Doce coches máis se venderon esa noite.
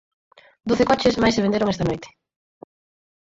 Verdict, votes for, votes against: rejected, 0, 4